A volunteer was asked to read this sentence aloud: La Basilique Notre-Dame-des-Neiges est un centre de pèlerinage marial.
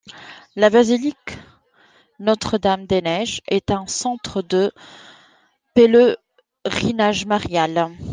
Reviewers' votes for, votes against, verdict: 1, 2, rejected